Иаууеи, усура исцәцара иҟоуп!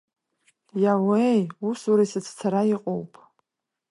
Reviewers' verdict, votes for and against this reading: accepted, 2, 0